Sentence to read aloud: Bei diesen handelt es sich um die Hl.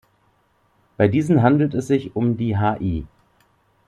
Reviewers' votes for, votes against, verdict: 1, 2, rejected